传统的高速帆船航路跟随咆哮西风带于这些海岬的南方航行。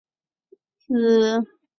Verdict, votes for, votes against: rejected, 0, 2